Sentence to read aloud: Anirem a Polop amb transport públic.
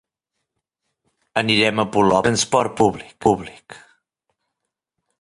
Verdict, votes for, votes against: rejected, 0, 2